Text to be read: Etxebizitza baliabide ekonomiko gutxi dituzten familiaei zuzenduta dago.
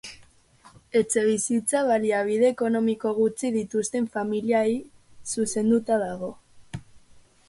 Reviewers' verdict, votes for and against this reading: rejected, 0, 2